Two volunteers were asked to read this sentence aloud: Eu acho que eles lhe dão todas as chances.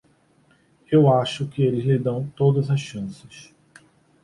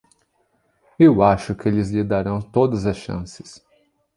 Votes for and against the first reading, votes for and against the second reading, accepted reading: 2, 1, 0, 2, first